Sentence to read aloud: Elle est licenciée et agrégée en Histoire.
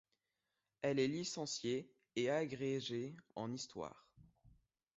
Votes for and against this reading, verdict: 2, 0, accepted